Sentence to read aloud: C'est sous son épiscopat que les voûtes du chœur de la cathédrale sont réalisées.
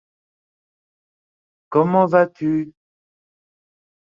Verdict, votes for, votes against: rejected, 0, 2